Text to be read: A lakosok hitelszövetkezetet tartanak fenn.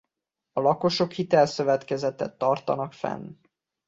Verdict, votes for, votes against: accepted, 2, 0